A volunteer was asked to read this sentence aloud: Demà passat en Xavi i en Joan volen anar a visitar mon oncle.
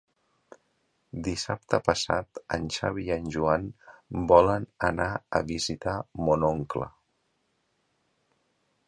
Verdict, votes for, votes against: rejected, 0, 2